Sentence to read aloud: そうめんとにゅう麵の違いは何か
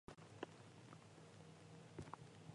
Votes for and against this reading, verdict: 0, 3, rejected